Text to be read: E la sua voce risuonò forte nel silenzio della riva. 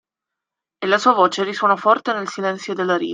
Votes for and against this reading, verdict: 0, 2, rejected